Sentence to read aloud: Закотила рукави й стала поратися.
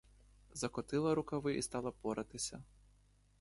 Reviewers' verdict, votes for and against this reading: accepted, 2, 0